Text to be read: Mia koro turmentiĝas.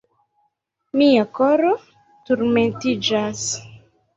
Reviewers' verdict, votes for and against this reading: rejected, 1, 2